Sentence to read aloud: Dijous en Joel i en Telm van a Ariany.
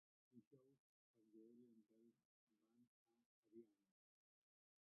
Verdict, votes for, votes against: rejected, 0, 2